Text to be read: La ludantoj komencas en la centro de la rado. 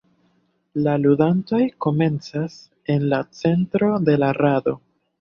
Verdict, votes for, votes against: accepted, 3, 1